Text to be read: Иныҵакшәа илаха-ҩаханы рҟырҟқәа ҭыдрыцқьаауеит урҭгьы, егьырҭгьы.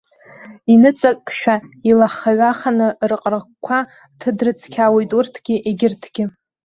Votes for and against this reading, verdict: 2, 1, accepted